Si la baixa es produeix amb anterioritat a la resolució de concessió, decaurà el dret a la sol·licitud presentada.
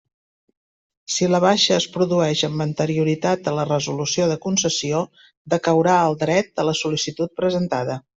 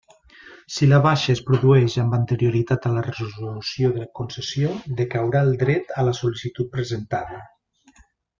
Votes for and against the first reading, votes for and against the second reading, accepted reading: 3, 0, 1, 2, first